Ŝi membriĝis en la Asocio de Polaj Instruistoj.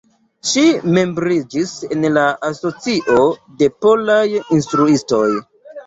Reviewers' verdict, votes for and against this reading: accepted, 2, 0